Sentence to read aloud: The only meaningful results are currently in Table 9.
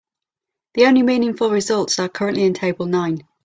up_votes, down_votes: 0, 2